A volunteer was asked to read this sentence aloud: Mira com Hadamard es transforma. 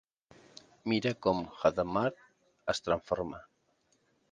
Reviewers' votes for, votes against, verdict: 0, 2, rejected